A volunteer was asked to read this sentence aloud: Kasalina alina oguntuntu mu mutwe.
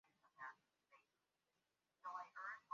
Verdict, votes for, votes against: rejected, 0, 2